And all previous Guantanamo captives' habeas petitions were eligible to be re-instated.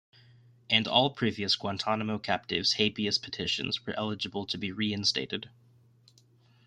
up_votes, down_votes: 2, 0